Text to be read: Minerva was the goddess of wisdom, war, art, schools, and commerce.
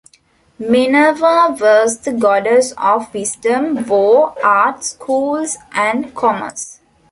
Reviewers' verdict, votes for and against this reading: accepted, 2, 0